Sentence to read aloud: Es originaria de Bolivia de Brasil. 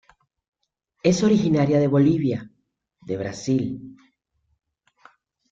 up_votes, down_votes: 2, 0